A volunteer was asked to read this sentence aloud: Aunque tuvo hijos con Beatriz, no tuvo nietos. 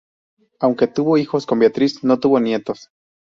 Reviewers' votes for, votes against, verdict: 2, 0, accepted